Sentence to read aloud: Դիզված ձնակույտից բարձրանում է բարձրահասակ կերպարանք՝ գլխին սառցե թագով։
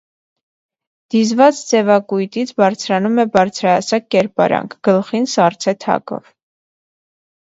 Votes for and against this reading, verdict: 1, 2, rejected